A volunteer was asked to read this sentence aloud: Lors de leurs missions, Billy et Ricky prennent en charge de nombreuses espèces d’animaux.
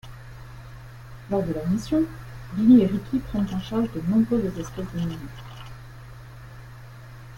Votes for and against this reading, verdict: 2, 1, accepted